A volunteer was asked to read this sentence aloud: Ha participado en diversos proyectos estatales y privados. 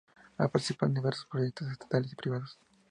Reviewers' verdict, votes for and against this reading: rejected, 0, 2